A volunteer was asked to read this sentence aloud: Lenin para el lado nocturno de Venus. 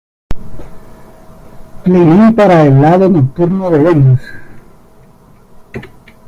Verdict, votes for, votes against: rejected, 0, 2